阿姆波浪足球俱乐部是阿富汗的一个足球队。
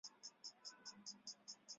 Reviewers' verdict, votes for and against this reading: rejected, 3, 4